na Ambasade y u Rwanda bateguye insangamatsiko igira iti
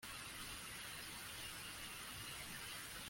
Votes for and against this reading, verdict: 0, 2, rejected